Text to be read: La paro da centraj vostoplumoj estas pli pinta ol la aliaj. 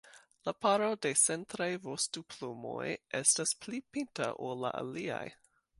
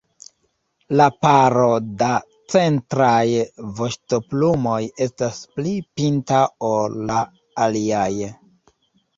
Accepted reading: first